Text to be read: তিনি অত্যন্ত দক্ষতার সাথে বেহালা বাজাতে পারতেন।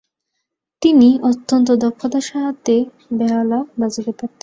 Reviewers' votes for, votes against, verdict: 0, 2, rejected